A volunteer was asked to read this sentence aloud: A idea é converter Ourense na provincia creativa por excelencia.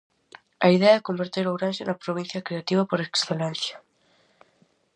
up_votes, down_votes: 2, 0